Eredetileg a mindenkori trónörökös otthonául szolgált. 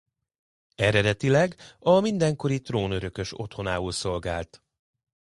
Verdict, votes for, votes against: accepted, 2, 0